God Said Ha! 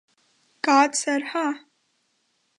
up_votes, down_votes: 2, 0